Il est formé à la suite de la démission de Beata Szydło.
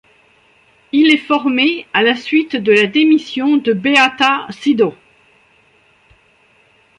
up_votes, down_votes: 1, 2